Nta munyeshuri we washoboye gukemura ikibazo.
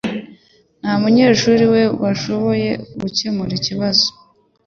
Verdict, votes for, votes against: accepted, 3, 1